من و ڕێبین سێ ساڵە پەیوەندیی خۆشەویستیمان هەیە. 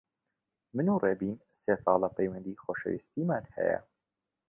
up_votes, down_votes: 1, 2